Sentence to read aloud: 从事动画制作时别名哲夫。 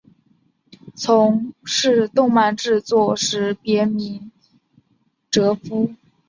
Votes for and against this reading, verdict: 4, 1, accepted